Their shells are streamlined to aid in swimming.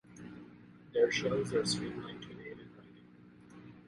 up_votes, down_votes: 0, 2